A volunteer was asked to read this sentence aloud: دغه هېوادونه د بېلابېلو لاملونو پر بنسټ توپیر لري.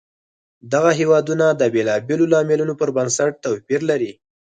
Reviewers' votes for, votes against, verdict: 4, 0, accepted